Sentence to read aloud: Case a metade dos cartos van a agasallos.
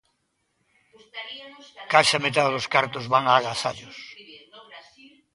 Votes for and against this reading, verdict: 0, 2, rejected